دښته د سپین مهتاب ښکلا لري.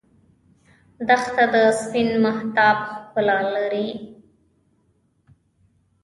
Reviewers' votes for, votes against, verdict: 0, 2, rejected